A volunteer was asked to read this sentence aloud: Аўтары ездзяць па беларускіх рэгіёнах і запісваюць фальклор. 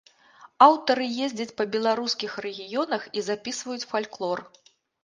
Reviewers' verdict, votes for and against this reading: accepted, 2, 0